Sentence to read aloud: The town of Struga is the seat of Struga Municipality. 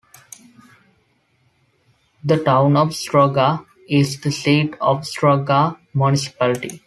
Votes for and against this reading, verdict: 3, 0, accepted